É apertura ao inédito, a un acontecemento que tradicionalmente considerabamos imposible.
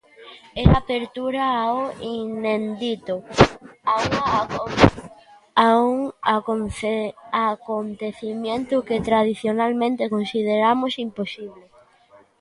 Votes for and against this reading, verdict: 0, 2, rejected